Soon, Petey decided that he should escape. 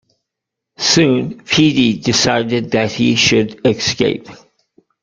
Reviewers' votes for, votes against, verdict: 2, 0, accepted